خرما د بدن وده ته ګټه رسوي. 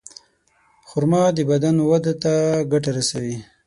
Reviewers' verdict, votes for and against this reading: accepted, 6, 0